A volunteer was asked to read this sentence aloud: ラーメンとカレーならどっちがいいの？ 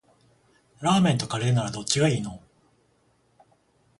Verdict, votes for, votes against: accepted, 14, 7